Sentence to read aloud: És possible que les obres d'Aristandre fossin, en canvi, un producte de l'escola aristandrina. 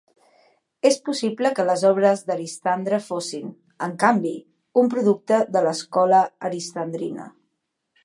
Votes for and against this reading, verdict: 4, 0, accepted